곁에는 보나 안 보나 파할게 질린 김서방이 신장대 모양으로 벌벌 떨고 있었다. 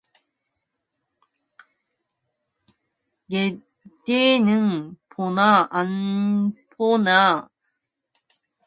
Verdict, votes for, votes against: rejected, 0, 2